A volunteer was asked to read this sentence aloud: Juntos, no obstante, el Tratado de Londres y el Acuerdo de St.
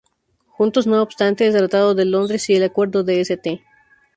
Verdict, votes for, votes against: rejected, 0, 2